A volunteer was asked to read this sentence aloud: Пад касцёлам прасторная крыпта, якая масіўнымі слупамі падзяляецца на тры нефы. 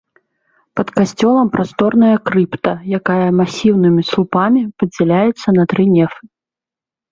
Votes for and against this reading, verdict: 2, 1, accepted